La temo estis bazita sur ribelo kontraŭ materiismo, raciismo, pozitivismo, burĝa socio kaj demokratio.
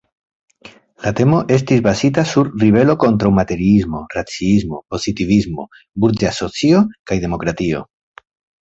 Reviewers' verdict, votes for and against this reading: accepted, 2, 0